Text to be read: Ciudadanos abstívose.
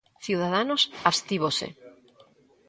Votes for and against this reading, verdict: 2, 0, accepted